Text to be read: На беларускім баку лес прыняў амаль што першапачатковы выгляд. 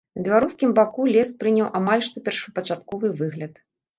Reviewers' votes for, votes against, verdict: 1, 2, rejected